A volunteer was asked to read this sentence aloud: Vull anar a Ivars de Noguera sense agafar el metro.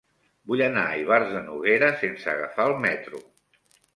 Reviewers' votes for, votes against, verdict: 3, 0, accepted